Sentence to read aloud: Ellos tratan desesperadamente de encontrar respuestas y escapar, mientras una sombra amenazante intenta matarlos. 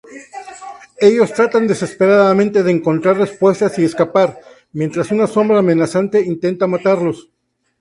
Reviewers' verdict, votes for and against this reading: accepted, 2, 0